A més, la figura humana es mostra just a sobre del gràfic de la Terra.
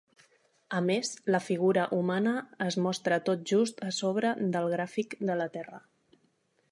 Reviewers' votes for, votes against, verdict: 0, 2, rejected